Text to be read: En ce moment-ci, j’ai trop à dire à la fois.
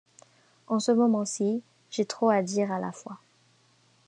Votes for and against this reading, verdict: 2, 0, accepted